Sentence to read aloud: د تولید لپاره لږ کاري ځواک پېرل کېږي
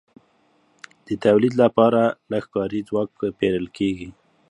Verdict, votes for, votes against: accepted, 2, 0